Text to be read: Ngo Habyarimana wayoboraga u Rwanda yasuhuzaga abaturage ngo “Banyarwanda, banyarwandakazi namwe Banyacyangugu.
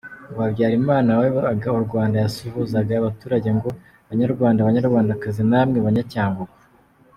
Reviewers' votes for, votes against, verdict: 2, 0, accepted